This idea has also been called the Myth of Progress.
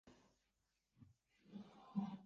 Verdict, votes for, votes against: rejected, 0, 3